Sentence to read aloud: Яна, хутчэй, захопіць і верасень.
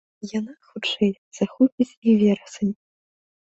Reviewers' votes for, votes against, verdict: 1, 2, rejected